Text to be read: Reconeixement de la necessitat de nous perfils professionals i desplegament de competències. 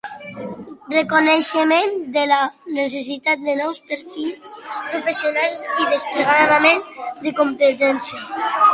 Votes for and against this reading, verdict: 1, 2, rejected